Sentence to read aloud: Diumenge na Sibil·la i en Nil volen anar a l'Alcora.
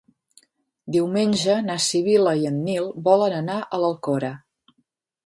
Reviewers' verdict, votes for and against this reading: accepted, 5, 0